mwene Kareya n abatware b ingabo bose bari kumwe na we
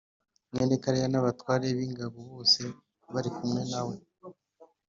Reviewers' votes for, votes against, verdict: 2, 0, accepted